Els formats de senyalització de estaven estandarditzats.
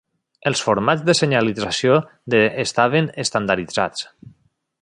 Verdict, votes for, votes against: rejected, 0, 2